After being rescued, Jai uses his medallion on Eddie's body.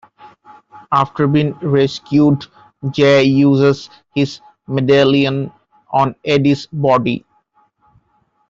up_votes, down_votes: 0, 2